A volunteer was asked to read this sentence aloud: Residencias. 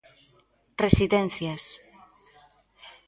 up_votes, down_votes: 2, 0